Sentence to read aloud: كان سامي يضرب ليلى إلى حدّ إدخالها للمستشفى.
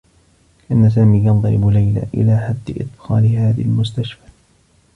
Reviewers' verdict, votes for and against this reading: rejected, 1, 2